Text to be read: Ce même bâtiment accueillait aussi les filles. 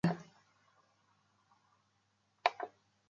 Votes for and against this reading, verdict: 0, 3, rejected